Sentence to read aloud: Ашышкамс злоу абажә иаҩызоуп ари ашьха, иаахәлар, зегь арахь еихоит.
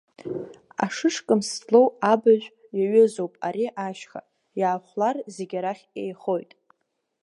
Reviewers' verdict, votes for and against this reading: accepted, 2, 1